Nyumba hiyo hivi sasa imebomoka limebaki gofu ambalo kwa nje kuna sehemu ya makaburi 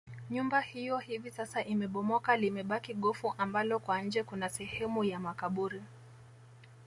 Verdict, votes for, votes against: accepted, 2, 0